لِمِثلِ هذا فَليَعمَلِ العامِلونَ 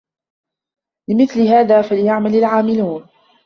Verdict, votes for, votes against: accepted, 2, 0